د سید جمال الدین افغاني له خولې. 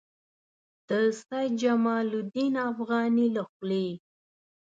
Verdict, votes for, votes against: accepted, 2, 0